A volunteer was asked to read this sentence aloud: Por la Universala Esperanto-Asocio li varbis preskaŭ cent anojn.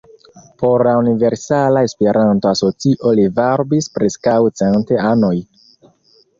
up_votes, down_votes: 0, 4